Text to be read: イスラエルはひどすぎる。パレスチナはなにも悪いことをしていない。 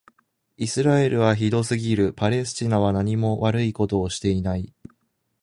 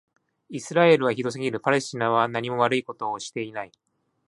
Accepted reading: second